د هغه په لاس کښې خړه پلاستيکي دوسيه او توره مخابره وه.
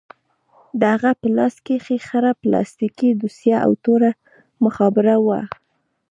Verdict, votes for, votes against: rejected, 0, 2